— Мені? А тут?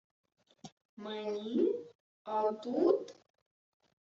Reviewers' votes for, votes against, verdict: 2, 0, accepted